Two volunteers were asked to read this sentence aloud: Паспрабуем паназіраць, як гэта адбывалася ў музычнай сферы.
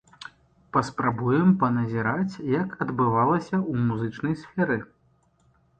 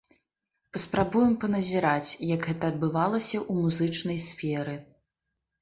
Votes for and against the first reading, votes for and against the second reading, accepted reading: 0, 2, 2, 0, second